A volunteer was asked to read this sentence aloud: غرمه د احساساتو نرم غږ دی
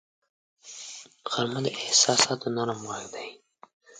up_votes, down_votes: 2, 0